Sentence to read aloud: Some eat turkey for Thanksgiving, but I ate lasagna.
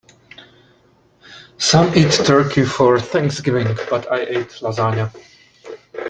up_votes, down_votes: 1, 2